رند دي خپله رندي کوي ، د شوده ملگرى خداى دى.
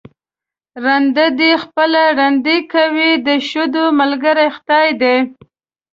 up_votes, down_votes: 0, 2